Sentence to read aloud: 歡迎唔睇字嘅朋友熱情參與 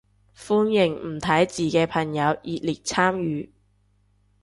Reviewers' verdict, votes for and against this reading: rejected, 0, 2